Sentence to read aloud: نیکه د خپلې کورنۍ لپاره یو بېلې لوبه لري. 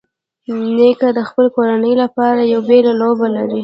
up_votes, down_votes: 2, 1